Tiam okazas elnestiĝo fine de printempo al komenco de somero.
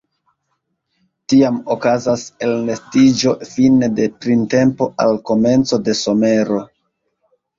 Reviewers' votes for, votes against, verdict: 2, 0, accepted